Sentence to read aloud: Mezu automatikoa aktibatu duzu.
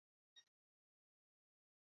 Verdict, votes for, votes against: rejected, 0, 4